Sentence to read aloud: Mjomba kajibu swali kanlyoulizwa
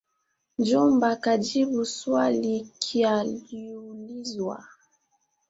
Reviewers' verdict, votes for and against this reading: rejected, 1, 2